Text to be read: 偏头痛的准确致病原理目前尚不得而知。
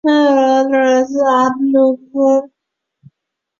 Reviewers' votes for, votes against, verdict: 0, 3, rejected